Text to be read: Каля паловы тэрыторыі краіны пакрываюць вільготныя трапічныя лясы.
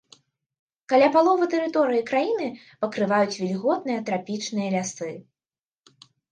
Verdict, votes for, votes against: accepted, 2, 0